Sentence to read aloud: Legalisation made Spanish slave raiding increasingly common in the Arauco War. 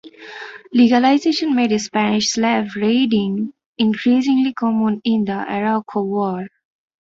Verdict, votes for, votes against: rejected, 1, 2